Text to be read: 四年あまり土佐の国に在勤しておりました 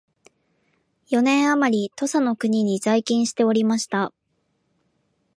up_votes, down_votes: 7, 1